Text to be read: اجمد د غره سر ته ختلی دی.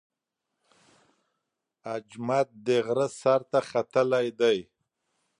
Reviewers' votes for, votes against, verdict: 2, 0, accepted